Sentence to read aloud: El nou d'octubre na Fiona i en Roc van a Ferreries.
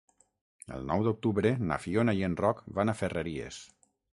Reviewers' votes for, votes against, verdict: 6, 0, accepted